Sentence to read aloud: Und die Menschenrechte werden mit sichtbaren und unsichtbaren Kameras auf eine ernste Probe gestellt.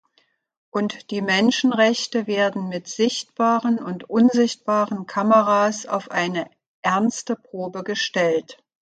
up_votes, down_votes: 2, 0